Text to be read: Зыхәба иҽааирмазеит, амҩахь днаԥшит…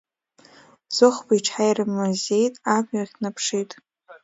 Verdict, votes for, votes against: accepted, 2, 1